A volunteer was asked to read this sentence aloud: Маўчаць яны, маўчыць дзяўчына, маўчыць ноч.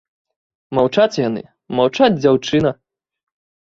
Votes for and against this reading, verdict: 1, 2, rejected